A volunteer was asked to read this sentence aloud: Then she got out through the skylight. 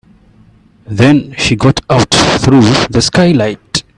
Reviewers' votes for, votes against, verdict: 1, 2, rejected